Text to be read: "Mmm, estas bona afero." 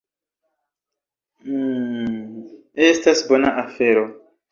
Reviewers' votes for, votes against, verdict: 1, 2, rejected